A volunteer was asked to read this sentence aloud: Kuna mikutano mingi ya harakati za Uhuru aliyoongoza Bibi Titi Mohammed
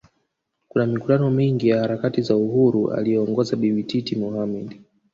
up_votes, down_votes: 1, 2